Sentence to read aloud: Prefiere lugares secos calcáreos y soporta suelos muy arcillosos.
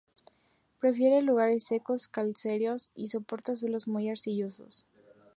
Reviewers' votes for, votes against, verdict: 0, 2, rejected